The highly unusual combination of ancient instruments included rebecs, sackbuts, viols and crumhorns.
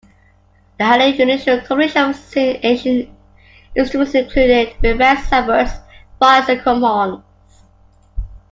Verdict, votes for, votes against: accepted, 2, 1